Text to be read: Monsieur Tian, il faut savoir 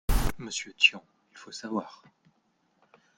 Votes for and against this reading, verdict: 2, 1, accepted